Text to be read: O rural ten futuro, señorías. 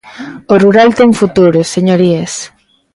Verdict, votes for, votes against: accepted, 2, 0